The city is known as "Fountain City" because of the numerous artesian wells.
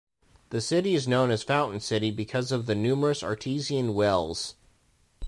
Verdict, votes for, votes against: rejected, 1, 2